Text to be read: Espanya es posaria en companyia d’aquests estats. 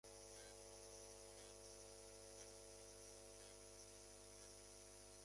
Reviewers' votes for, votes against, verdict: 0, 2, rejected